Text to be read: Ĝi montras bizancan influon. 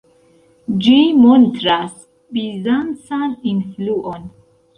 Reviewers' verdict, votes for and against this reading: rejected, 1, 2